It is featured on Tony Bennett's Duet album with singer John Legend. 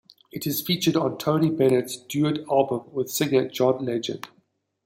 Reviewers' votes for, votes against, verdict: 2, 0, accepted